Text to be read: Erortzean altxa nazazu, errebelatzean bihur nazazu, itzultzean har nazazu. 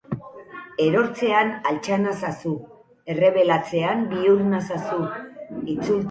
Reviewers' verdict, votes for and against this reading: rejected, 0, 6